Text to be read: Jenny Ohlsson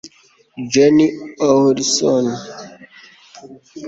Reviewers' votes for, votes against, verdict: 1, 2, rejected